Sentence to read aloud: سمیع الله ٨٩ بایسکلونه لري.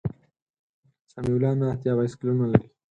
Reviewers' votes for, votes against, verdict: 0, 2, rejected